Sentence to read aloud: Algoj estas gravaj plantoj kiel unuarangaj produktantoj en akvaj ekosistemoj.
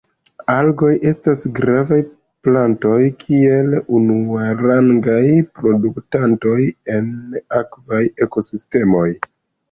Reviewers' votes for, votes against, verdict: 0, 2, rejected